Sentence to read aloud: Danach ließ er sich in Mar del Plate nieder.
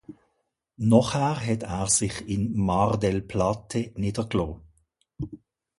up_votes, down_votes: 0, 2